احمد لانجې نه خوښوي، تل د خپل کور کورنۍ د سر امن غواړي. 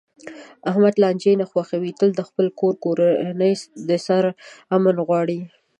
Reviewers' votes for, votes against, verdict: 2, 0, accepted